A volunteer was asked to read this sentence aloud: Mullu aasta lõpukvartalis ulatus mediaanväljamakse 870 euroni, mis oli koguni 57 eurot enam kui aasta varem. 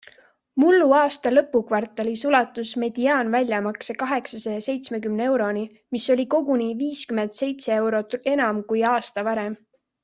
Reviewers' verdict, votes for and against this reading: rejected, 0, 2